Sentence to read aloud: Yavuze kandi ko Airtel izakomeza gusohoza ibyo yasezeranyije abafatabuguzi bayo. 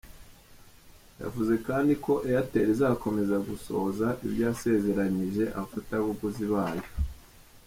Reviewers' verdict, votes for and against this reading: accepted, 2, 0